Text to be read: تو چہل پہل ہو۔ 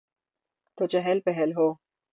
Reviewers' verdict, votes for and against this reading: rejected, 3, 3